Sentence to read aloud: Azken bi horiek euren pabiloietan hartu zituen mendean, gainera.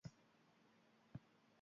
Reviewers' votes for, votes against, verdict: 0, 2, rejected